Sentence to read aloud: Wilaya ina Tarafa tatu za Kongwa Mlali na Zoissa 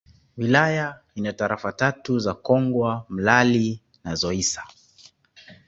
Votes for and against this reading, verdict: 0, 2, rejected